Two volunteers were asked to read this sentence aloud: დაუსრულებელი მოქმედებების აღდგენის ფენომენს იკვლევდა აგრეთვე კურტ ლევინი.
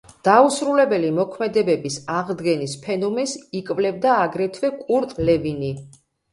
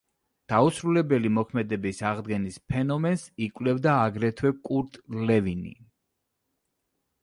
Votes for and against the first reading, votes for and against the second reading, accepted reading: 2, 0, 0, 2, first